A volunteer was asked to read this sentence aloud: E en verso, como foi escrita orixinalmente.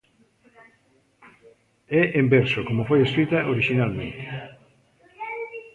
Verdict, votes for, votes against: accepted, 2, 0